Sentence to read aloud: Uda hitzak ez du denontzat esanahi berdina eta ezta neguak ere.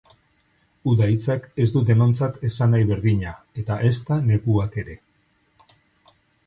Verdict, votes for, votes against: accepted, 2, 0